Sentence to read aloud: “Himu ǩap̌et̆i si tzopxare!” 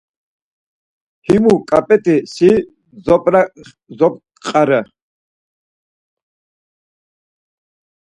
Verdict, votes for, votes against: rejected, 0, 4